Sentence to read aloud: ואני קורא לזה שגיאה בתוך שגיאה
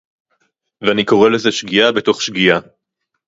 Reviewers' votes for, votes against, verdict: 2, 0, accepted